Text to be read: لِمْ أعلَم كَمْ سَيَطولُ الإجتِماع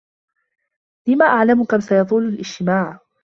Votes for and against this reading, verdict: 2, 1, accepted